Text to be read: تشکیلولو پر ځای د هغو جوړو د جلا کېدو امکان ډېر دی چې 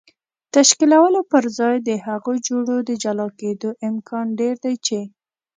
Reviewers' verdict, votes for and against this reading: accepted, 2, 0